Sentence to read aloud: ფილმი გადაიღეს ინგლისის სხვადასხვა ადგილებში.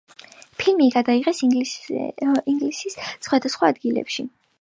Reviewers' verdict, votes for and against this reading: rejected, 0, 2